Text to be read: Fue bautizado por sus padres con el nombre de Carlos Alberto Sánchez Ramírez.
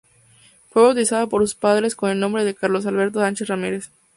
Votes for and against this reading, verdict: 2, 0, accepted